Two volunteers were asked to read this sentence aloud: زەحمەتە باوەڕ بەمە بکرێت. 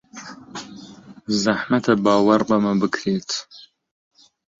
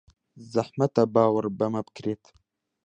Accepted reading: second